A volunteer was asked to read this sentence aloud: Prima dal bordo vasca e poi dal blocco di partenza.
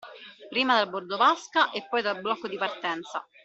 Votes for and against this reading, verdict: 2, 0, accepted